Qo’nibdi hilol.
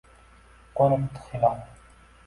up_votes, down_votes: 2, 1